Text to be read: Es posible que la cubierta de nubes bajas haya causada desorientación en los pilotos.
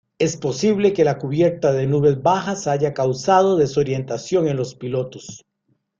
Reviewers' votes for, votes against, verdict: 2, 0, accepted